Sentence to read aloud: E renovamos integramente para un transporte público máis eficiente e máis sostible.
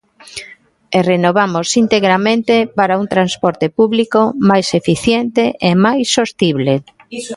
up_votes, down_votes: 1, 2